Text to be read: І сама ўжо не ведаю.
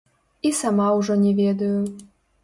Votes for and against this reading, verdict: 0, 2, rejected